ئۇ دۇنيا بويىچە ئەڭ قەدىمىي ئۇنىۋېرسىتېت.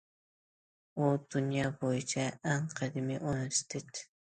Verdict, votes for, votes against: rejected, 1, 2